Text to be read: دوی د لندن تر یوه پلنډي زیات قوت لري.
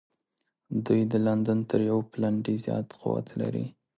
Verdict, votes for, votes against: accepted, 2, 0